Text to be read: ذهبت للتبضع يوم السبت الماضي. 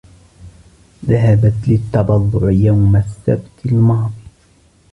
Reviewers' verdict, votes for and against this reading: rejected, 2, 3